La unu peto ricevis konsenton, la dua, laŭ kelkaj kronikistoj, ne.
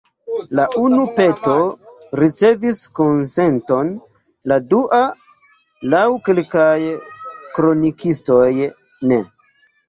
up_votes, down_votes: 2, 0